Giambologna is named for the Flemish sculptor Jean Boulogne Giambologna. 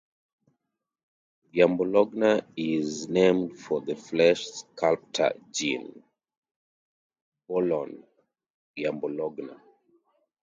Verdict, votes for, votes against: rejected, 0, 2